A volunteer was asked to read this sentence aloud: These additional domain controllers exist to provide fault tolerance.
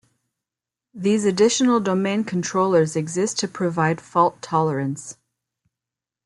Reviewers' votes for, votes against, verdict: 2, 0, accepted